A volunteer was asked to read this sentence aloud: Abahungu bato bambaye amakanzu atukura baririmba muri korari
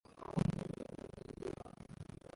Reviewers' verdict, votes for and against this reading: rejected, 0, 2